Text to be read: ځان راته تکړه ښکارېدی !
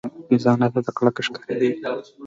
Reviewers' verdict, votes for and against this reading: rejected, 0, 2